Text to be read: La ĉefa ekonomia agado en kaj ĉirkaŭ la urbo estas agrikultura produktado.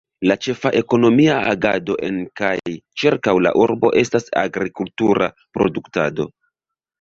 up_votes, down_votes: 1, 2